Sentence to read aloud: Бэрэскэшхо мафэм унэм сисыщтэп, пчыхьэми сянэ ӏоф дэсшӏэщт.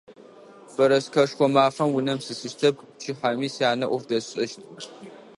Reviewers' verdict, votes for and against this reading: accepted, 2, 0